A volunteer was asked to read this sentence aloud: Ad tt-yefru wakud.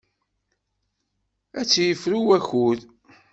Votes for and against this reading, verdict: 2, 0, accepted